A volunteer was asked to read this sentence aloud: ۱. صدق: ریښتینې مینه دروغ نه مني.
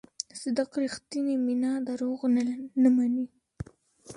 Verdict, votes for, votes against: rejected, 0, 2